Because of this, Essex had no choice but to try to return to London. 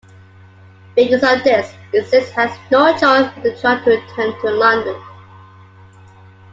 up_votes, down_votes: 2, 0